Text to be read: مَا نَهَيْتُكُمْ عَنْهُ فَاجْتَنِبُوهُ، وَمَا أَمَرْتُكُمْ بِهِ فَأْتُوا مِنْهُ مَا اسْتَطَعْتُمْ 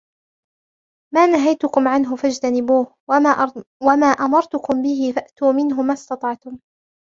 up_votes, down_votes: 1, 2